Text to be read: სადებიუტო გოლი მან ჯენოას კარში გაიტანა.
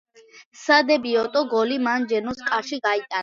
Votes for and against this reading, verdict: 1, 2, rejected